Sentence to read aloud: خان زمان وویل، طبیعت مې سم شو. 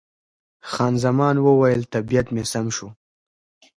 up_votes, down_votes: 0, 2